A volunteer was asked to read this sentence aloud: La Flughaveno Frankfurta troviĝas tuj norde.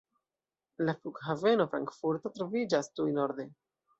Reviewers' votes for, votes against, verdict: 1, 2, rejected